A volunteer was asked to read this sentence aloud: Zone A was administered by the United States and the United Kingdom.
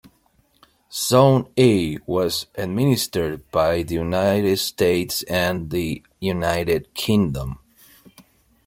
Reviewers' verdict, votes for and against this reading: accepted, 2, 0